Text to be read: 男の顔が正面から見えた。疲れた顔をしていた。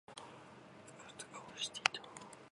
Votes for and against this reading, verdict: 0, 3, rejected